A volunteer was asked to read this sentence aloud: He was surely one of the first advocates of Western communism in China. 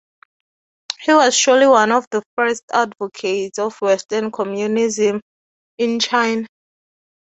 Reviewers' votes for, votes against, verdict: 0, 4, rejected